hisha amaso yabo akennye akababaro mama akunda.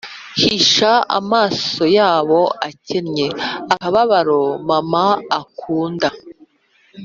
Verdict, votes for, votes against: accepted, 3, 0